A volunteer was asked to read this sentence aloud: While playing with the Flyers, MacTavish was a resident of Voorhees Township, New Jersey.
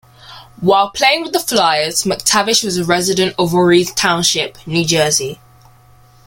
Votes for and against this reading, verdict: 2, 0, accepted